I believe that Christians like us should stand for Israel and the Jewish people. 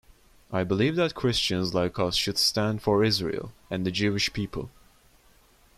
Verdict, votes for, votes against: rejected, 0, 2